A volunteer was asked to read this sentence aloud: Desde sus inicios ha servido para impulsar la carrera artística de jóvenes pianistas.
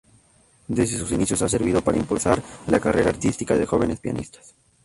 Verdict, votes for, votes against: rejected, 0, 2